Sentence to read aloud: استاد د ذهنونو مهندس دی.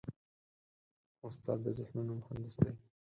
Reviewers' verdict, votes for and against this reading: rejected, 4, 6